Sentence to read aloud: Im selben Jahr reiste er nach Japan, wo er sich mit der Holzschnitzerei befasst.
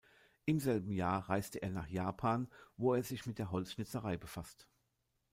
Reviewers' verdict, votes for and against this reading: rejected, 0, 2